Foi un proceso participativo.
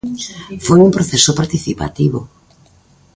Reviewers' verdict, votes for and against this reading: rejected, 1, 2